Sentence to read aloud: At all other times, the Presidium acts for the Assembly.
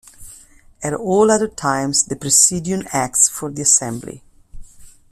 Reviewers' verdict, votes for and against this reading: accepted, 2, 0